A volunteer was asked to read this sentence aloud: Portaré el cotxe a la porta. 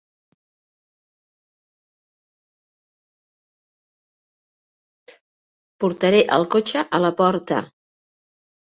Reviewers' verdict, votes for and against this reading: rejected, 1, 2